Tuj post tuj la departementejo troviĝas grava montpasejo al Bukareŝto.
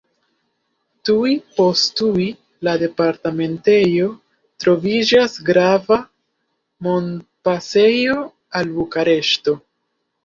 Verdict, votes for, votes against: rejected, 0, 2